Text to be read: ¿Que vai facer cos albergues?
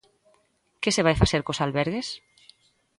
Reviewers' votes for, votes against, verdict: 0, 2, rejected